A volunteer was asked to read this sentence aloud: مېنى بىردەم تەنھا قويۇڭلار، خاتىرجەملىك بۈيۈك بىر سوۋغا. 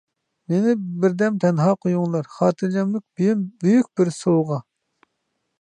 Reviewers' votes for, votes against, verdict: 0, 2, rejected